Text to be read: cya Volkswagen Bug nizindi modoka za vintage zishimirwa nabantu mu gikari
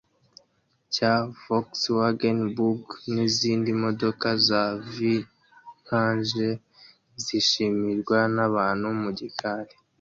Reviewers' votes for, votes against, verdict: 1, 2, rejected